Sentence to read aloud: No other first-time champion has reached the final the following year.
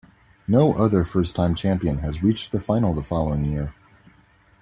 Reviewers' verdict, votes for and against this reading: rejected, 1, 2